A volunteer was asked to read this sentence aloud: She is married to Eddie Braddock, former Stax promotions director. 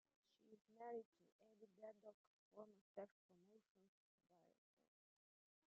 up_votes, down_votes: 0, 2